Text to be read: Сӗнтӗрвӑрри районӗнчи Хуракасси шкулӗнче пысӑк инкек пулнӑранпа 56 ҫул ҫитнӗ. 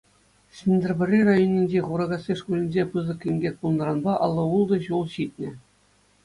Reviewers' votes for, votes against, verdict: 0, 2, rejected